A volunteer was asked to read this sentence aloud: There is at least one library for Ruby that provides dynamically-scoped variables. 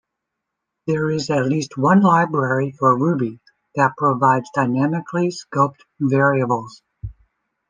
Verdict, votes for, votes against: accepted, 2, 0